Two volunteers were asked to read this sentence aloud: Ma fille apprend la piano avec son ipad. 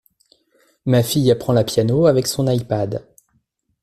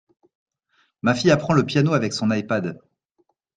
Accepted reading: first